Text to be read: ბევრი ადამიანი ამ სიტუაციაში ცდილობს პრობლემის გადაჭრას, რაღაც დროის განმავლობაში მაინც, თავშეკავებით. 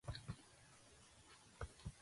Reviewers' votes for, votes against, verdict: 0, 2, rejected